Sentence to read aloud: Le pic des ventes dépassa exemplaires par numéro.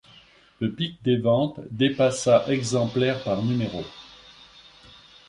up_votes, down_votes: 3, 1